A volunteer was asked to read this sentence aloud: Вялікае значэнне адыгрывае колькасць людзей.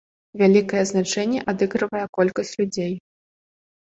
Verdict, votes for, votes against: rejected, 0, 2